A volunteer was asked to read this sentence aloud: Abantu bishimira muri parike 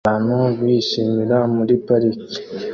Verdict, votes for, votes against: accepted, 2, 1